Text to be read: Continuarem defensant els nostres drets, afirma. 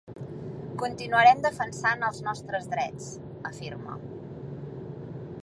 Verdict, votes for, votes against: accepted, 3, 0